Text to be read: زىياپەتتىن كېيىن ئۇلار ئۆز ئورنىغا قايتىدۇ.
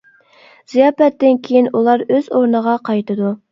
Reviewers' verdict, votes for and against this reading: accepted, 2, 0